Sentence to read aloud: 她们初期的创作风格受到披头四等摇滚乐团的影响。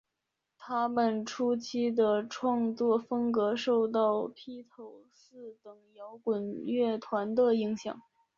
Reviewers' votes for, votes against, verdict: 1, 2, rejected